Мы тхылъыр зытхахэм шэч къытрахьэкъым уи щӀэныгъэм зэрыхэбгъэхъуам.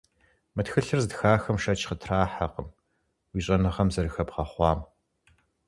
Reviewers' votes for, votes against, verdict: 4, 0, accepted